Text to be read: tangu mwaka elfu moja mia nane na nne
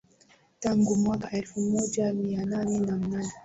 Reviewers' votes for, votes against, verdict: 2, 0, accepted